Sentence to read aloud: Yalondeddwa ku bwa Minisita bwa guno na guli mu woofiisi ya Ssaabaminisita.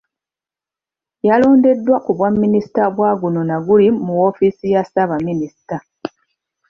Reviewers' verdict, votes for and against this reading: accepted, 2, 0